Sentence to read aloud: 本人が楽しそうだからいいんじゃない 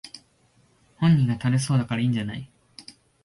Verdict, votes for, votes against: rejected, 1, 2